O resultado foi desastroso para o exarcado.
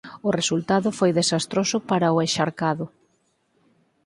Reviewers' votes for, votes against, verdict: 0, 4, rejected